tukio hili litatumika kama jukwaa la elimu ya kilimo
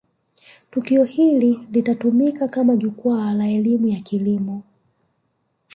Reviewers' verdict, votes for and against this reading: accepted, 2, 0